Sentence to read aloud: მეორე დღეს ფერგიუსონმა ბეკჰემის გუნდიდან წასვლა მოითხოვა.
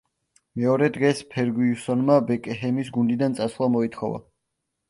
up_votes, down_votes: 0, 2